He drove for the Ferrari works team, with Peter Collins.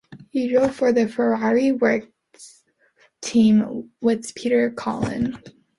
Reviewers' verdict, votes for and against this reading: rejected, 0, 2